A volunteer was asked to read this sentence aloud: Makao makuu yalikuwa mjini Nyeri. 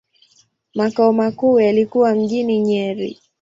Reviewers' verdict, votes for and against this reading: accepted, 2, 0